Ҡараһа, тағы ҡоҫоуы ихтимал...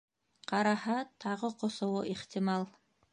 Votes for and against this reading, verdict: 2, 0, accepted